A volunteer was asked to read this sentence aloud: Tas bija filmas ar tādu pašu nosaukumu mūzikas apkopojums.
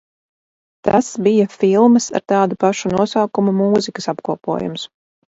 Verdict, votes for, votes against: rejected, 2, 2